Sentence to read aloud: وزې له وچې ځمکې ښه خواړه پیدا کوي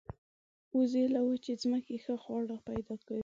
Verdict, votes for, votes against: accepted, 2, 0